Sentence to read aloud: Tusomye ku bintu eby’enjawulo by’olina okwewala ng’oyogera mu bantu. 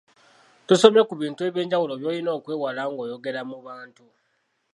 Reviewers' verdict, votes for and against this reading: accepted, 2, 0